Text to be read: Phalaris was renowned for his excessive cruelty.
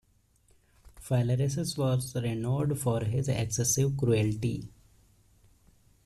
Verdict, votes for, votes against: rejected, 0, 2